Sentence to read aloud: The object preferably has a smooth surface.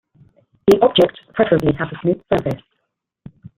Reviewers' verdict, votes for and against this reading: rejected, 0, 2